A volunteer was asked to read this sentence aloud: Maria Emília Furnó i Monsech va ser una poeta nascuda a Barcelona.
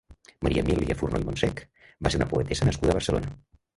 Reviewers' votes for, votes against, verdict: 1, 2, rejected